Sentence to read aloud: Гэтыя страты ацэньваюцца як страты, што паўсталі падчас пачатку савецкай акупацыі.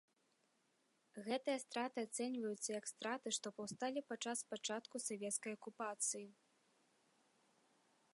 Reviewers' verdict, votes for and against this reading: accepted, 2, 0